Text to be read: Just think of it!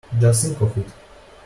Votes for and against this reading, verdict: 2, 0, accepted